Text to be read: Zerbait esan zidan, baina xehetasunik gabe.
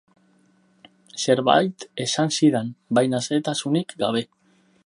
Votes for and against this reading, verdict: 0, 2, rejected